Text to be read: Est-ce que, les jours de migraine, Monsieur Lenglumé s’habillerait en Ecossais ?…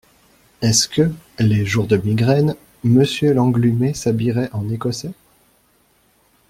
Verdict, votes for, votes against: accepted, 2, 0